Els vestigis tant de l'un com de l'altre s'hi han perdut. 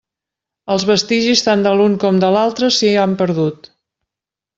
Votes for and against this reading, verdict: 3, 0, accepted